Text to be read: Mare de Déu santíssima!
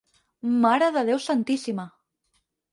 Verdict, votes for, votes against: accepted, 8, 0